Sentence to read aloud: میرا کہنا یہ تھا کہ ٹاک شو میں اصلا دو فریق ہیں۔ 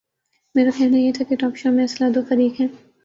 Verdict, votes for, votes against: rejected, 1, 2